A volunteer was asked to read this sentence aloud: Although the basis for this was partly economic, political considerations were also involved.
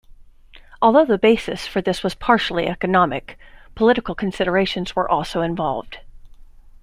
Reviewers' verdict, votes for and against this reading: rejected, 0, 2